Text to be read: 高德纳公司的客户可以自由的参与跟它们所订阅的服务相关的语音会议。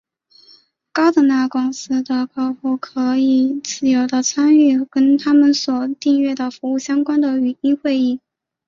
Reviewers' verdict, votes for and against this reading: rejected, 0, 2